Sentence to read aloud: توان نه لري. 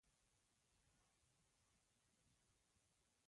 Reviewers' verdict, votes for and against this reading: rejected, 1, 2